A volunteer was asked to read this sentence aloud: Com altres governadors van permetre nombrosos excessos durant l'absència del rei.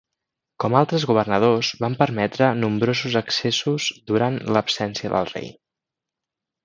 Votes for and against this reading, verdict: 2, 0, accepted